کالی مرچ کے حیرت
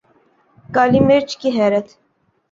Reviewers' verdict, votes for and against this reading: accepted, 6, 2